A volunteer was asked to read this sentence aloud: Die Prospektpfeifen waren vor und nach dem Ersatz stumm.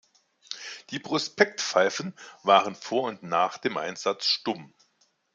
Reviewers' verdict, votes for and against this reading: rejected, 0, 2